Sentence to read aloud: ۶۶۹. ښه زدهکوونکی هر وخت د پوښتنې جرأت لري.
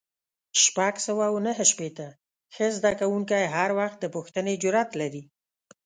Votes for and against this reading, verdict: 0, 2, rejected